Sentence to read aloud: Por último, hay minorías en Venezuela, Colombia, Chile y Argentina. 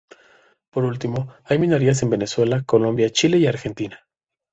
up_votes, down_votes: 2, 0